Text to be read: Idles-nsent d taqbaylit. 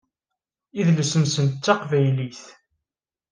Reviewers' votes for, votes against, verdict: 4, 0, accepted